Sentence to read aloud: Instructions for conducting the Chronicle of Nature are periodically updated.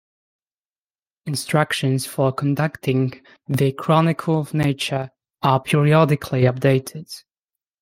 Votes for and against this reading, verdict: 2, 0, accepted